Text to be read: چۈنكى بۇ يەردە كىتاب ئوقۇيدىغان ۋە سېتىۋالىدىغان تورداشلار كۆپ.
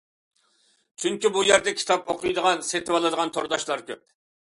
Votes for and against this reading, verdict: 0, 2, rejected